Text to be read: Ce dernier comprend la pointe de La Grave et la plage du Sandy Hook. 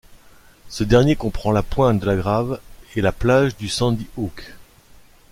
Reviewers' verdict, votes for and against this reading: rejected, 1, 2